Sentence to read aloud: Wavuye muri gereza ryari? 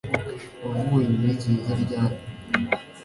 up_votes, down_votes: 2, 1